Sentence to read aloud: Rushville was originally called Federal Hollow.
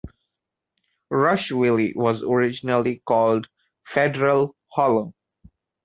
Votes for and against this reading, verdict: 1, 2, rejected